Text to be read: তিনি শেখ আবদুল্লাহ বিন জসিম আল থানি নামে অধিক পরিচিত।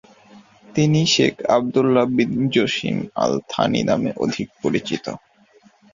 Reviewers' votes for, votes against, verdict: 2, 1, accepted